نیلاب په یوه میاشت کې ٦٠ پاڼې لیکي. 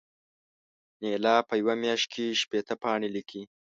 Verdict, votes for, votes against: rejected, 0, 2